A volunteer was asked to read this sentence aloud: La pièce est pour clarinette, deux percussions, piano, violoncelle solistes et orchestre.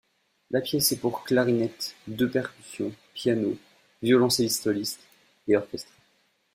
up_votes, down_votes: 1, 2